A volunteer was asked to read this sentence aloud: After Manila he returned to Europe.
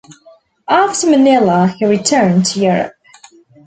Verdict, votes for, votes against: accepted, 2, 0